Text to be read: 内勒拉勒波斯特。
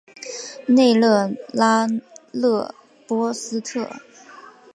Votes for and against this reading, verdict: 2, 0, accepted